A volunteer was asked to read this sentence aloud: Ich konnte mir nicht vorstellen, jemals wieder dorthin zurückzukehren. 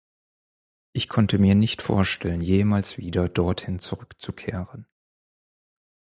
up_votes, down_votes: 4, 0